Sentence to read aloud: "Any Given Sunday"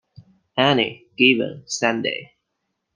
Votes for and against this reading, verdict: 2, 1, accepted